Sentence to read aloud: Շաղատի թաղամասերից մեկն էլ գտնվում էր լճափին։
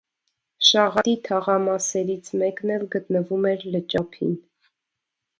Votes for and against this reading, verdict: 2, 0, accepted